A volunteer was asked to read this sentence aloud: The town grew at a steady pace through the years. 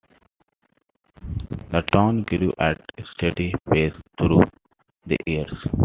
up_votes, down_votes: 1, 2